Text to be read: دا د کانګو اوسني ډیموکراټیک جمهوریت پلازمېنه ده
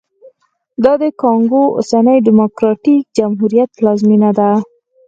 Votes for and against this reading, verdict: 2, 4, rejected